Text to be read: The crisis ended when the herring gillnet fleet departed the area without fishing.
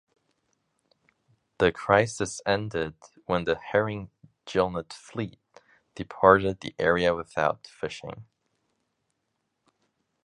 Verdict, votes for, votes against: accepted, 2, 1